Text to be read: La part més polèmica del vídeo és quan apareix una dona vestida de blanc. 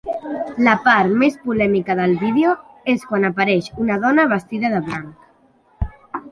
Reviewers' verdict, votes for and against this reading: rejected, 1, 2